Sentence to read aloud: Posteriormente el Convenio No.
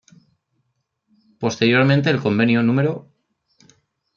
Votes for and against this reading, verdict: 1, 2, rejected